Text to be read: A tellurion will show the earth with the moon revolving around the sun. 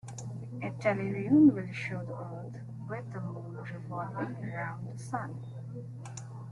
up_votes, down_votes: 0, 2